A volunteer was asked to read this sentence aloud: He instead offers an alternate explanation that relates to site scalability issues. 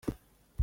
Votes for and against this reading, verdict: 0, 2, rejected